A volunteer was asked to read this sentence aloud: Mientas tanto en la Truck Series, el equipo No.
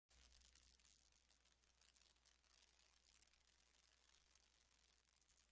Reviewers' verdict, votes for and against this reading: rejected, 0, 2